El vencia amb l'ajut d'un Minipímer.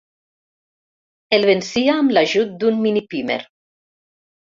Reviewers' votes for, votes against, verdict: 4, 0, accepted